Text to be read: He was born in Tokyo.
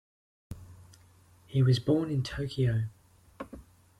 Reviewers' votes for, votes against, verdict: 2, 0, accepted